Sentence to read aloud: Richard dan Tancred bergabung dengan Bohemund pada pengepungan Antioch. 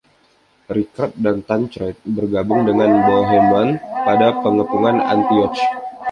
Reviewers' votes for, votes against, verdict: 0, 2, rejected